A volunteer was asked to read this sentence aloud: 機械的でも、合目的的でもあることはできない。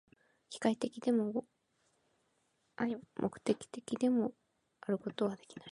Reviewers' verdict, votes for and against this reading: rejected, 0, 2